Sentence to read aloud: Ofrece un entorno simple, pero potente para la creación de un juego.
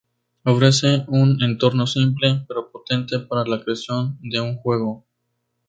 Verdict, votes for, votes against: rejected, 0, 2